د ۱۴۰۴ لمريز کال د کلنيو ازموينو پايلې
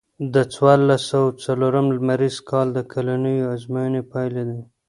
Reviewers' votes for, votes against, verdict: 0, 2, rejected